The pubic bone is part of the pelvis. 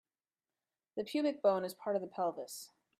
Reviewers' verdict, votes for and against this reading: accepted, 2, 0